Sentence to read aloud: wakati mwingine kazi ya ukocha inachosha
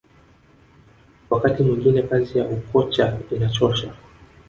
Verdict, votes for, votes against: accepted, 2, 0